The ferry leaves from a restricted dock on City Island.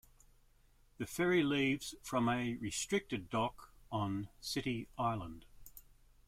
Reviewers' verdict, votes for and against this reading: accepted, 2, 0